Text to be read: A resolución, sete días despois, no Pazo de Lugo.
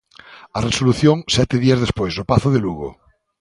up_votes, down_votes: 2, 0